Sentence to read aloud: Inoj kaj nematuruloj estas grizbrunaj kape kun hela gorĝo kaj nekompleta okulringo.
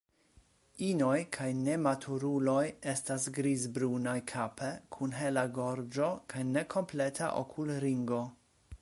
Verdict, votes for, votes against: rejected, 1, 2